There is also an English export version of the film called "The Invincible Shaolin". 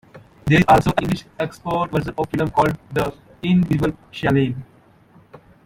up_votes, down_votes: 0, 2